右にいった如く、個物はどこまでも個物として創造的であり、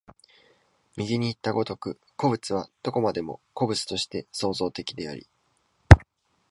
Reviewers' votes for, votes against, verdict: 2, 0, accepted